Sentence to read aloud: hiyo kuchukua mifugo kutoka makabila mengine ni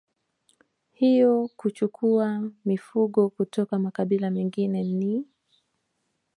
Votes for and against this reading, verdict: 2, 1, accepted